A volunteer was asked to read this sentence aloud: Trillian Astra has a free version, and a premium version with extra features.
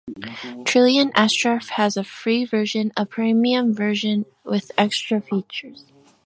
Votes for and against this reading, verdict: 1, 2, rejected